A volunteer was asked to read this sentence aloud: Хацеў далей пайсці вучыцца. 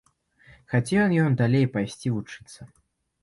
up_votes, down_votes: 1, 2